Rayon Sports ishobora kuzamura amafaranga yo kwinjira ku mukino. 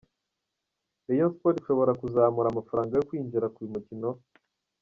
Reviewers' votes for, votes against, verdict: 1, 2, rejected